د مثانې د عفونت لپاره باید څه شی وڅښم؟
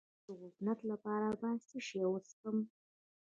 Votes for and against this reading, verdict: 0, 2, rejected